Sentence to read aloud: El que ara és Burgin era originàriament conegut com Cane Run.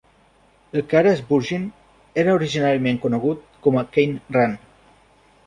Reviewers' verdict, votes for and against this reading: rejected, 0, 2